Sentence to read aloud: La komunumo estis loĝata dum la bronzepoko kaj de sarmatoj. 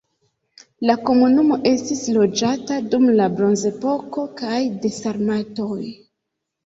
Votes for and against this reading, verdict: 2, 0, accepted